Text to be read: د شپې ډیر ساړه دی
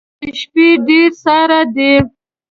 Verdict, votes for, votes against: rejected, 1, 2